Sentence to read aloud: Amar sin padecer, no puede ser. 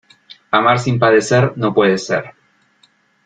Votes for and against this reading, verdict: 2, 0, accepted